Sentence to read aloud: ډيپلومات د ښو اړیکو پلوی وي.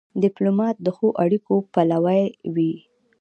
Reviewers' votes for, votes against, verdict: 2, 0, accepted